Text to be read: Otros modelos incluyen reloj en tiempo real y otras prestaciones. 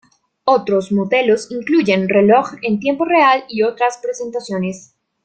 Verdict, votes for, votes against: rejected, 0, 2